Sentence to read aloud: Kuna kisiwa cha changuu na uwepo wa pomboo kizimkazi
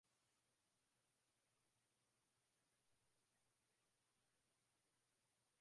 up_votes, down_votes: 0, 6